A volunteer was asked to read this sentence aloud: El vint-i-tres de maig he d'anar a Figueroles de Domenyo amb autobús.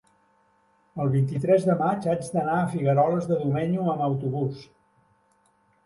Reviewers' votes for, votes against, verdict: 1, 2, rejected